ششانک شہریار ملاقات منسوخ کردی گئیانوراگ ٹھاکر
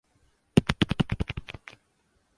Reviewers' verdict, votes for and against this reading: rejected, 2, 5